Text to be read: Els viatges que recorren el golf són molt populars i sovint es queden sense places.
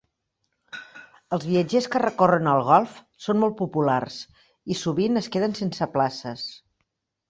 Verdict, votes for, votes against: rejected, 0, 2